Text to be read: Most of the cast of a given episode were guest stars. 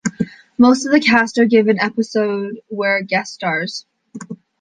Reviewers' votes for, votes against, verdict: 2, 0, accepted